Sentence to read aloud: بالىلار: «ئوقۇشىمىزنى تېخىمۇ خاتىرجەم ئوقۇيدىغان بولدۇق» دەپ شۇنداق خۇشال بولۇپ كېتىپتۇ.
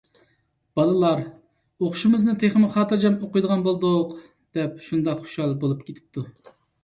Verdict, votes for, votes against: accepted, 2, 0